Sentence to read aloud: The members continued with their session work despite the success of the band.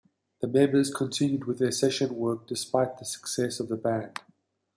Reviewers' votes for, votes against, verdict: 2, 0, accepted